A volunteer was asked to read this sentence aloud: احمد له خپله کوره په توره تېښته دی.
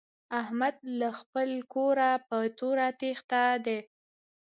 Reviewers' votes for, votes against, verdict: 1, 2, rejected